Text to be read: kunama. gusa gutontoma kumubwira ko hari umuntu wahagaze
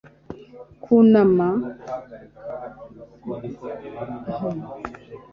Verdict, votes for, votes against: rejected, 0, 3